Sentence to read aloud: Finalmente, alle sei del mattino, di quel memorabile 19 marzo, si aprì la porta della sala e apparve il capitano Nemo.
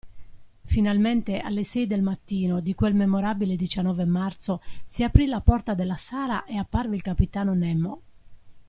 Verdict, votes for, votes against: rejected, 0, 2